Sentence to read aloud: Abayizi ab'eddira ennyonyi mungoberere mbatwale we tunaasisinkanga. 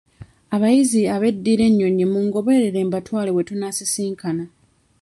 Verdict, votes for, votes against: rejected, 1, 2